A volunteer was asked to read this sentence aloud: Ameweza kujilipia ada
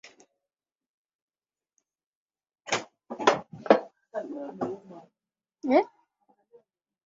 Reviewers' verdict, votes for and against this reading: rejected, 0, 8